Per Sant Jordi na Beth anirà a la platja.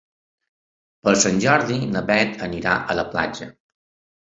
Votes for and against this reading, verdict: 2, 0, accepted